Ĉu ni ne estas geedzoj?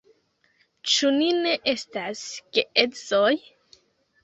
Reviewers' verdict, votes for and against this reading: accepted, 2, 0